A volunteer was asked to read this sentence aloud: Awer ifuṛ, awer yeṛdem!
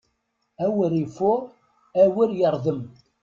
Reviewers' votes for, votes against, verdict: 2, 0, accepted